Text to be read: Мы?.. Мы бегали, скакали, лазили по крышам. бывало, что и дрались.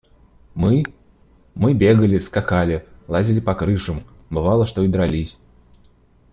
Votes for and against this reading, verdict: 2, 0, accepted